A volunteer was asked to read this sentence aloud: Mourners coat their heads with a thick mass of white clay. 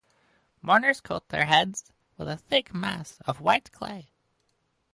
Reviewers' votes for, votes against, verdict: 4, 0, accepted